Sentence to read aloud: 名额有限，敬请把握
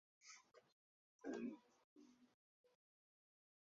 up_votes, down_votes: 1, 2